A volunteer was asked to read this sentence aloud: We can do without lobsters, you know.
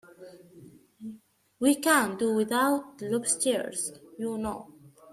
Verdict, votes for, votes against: rejected, 1, 2